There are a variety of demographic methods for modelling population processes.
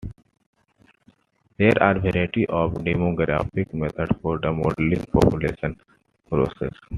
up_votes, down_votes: 0, 2